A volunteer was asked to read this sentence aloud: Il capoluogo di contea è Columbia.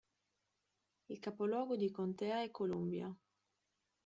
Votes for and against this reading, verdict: 2, 0, accepted